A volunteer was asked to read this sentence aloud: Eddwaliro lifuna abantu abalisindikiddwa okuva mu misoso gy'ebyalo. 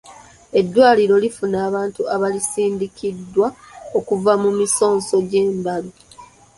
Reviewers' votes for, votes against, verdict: 1, 2, rejected